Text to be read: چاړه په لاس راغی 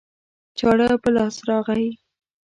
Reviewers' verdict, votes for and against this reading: accepted, 2, 0